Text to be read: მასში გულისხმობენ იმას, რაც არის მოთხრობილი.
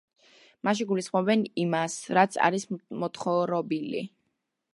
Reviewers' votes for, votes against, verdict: 0, 2, rejected